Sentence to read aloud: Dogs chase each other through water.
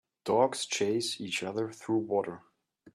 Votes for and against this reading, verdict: 2, 0, accepted